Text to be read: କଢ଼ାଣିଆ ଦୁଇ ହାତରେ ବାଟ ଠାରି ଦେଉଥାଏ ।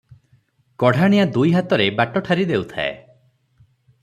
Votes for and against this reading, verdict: 3, 0, accepted